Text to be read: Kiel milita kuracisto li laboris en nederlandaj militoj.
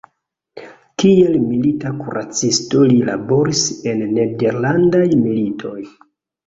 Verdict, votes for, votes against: accepted, 2, 0